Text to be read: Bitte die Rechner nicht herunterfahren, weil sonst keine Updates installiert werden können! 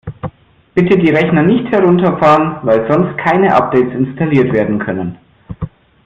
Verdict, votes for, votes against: accepted, 2, 0